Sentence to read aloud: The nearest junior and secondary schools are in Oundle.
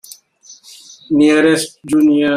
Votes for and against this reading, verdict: 0, 2, rejected